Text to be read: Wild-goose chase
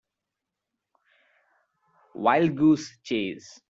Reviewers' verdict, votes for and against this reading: accepted, 3, 1